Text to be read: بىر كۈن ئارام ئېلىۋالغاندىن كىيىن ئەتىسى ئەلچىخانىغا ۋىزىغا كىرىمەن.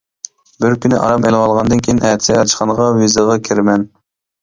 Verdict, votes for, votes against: rejected, 0, 3